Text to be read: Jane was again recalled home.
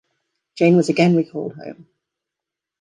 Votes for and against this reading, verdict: 2, 1, accepted